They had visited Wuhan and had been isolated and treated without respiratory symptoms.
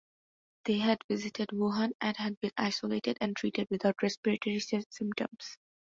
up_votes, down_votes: 0, 2